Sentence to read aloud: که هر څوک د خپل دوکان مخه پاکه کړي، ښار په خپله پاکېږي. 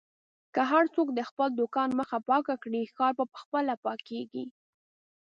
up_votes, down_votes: 1, 2